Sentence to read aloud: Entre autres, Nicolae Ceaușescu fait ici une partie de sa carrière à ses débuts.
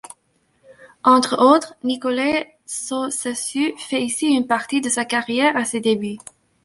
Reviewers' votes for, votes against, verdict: 0, 2, rejected